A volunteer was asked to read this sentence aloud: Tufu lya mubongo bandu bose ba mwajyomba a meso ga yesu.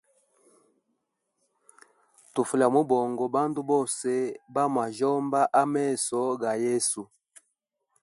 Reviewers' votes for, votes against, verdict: 2, 0, accepted